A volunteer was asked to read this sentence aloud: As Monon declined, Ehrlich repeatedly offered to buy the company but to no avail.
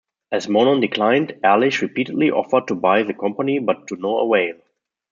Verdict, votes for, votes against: rejected, 0, 2